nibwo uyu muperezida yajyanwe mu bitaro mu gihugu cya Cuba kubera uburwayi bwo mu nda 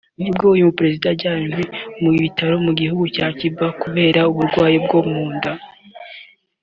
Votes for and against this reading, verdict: 3, 0, accepted